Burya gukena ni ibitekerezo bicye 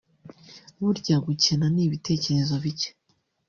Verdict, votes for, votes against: rejected, 1, 2